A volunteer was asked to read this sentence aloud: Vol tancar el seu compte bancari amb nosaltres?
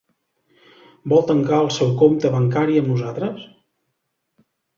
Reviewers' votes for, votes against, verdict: 1, 2, rejected